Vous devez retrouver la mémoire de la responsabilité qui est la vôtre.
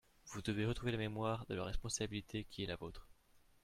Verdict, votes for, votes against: rejected, 1, 2